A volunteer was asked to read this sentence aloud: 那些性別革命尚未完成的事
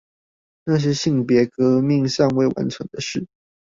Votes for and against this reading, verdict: 2, 0, accepted